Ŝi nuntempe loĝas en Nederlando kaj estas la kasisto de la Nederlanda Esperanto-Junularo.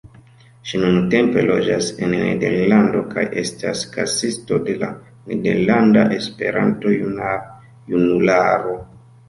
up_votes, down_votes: 1, 2